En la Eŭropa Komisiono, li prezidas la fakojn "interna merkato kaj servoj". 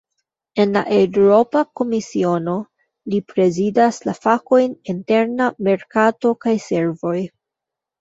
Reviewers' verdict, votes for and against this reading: rejected, 0, 2